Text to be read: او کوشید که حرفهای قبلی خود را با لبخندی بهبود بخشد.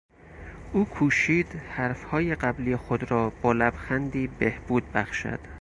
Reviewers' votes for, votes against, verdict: 0, 4, rejected